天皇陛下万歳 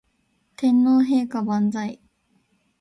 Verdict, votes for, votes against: rejected, 0, 2